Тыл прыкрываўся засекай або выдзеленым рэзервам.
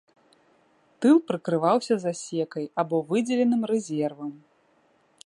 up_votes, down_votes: 2, 0